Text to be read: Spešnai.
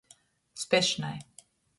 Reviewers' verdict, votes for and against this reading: accepted, 2, 0